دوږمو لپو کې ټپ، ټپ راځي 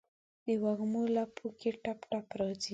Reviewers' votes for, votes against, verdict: 3, 0, accepted